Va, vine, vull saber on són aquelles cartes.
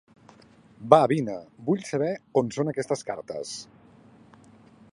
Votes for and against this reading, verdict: 0, 2, rejected